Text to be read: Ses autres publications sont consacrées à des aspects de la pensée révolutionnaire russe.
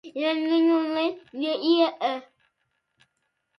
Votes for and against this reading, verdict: 0, 2, rejected